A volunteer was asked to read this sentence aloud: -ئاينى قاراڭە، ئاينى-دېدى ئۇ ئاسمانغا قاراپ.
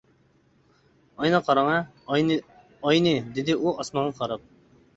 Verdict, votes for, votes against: rejected, 0, 2